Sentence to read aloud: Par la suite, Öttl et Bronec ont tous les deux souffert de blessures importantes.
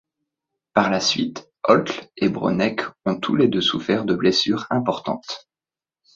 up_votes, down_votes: 2, 0